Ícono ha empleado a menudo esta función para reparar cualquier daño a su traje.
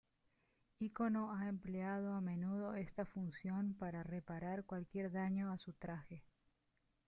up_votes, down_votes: 0, 2